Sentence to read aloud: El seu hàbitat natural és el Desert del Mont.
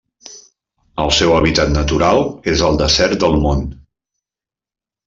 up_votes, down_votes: 1, 2